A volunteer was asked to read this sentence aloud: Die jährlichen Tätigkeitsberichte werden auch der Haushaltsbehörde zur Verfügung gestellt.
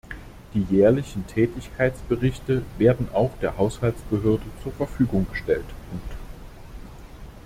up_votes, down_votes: 0, 2